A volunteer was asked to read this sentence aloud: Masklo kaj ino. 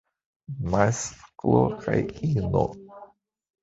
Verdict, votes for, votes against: rejected, 1, 2